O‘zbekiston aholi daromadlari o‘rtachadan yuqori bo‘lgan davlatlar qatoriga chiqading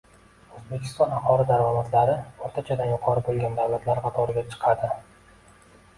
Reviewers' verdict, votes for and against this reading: rejected, 0, 2